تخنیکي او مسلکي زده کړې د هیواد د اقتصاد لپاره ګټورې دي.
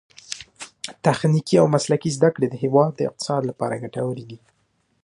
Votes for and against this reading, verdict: 1, 2, rejected